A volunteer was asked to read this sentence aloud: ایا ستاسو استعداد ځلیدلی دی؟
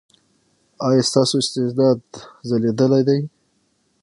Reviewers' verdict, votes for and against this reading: rejected, 0, 6